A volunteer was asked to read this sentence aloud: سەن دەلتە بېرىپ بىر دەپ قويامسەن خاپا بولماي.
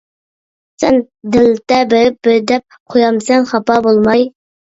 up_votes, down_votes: 0, 2